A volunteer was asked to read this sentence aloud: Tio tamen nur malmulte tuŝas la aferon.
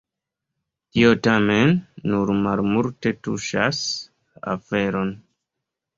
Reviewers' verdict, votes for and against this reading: rejected, 0, 2